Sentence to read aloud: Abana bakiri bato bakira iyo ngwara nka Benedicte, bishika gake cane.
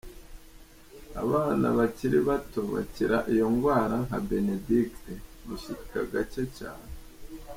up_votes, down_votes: 2, 1